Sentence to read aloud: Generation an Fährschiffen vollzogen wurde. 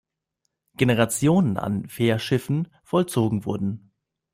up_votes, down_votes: 0, 2